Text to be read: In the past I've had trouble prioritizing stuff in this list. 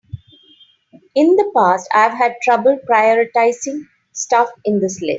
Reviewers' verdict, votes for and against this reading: rejected, 0, 2